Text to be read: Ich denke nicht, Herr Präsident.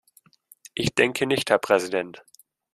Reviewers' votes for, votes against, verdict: 2, 0, accepted